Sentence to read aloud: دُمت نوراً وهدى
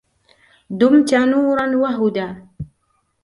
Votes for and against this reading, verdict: 2, 1, accepted